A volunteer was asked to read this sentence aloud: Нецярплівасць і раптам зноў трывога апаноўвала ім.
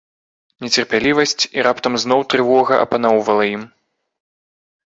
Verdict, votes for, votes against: rejected, 1, 2